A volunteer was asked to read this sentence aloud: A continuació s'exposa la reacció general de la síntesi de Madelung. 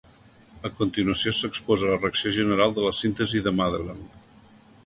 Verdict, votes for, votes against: accepted, 2, 0